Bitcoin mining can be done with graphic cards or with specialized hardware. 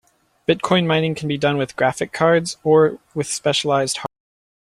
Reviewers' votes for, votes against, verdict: 0, 2, rejected